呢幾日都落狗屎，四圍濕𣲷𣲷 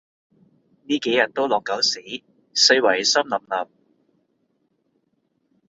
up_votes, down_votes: 2, 0